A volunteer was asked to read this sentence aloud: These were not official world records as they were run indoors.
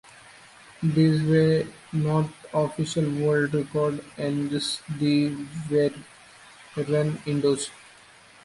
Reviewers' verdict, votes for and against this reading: rejected, 0, 2